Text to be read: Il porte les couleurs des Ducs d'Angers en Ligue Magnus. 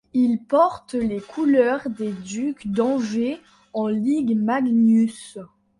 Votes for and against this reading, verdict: 2, 0, accepted